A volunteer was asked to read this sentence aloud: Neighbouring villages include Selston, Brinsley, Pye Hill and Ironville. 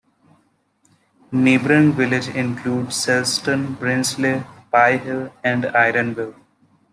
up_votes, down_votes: 1, 2